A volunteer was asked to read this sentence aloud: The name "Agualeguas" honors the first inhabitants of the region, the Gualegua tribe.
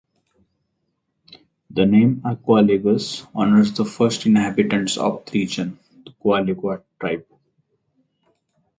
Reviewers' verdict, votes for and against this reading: accepted, 4, 0